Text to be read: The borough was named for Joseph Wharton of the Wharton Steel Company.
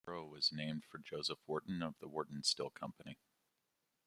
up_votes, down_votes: 0, 2